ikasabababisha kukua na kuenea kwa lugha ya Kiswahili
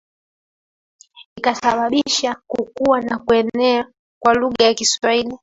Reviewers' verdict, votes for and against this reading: rejected, 0, 3